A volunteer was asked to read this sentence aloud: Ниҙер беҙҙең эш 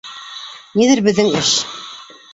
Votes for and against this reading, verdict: 0, 2, rejected